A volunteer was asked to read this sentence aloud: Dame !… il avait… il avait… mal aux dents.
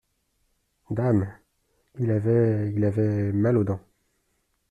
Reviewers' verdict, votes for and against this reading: accepted, 2, 0